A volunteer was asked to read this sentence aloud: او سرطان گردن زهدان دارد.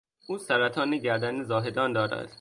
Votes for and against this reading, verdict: 1, 2, rejected